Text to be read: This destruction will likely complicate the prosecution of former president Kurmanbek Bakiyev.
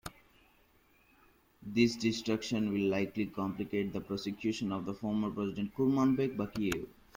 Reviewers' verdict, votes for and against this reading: rejected, 1, 2